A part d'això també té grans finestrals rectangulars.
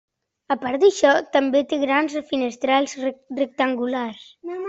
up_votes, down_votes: 1, 2